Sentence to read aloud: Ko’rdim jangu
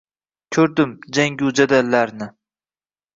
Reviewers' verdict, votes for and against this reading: rejected, 1, 2